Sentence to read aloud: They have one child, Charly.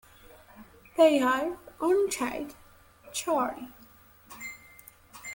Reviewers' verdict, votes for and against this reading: rejected, 0, 2